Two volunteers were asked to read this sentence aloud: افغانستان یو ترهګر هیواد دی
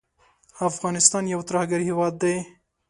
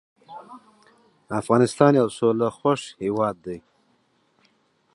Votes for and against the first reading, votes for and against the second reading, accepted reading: 2, 0, 1, 2, first